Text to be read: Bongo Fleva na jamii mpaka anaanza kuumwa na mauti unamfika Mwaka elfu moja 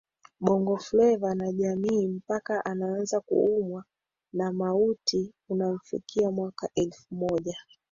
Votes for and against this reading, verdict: 1, 2, rejected